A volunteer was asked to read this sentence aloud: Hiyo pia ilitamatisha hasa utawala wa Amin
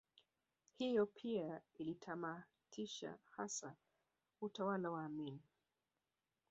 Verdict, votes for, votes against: rejected, 1, 2